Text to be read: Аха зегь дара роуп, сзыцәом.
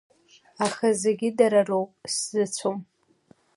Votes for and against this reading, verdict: 2, 0, accepted